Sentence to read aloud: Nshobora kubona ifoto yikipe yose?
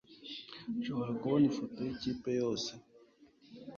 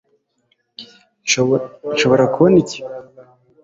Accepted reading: first